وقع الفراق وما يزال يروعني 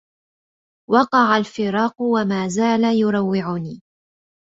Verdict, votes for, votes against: accepted, 2, 0